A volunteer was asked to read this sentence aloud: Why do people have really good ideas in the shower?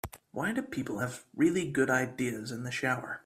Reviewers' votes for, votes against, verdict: 5, 0, accepted